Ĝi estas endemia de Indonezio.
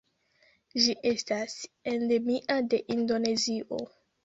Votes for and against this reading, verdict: 0, 2, rejected